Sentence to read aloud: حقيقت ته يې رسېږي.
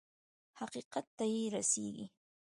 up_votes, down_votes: 2, 0